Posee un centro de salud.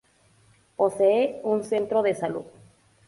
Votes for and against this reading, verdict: 0, 2, rejected